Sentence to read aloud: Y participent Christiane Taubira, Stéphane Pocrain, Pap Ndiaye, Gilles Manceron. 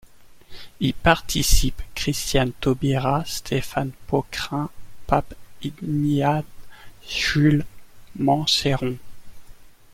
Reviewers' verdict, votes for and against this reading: rejected, 0, 2